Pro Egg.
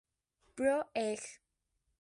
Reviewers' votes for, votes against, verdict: 2, 2, rejected